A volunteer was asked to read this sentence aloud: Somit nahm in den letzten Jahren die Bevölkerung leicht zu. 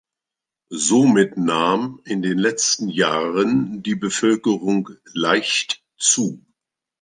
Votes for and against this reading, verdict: 2, 0, accepted